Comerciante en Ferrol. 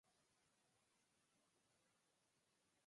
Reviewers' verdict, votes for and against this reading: rejected, 0, 4